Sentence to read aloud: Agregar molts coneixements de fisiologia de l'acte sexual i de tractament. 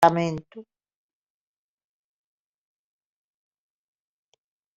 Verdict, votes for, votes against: rejected, 0, 2